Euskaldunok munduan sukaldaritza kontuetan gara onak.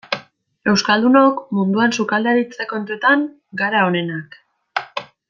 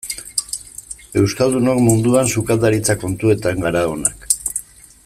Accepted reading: second